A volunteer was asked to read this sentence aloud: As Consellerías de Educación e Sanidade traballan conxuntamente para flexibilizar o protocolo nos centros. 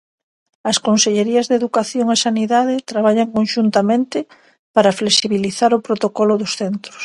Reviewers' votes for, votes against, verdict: 0, 2, rejected